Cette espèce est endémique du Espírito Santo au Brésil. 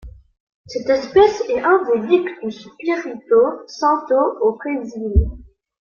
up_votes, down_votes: 0, 2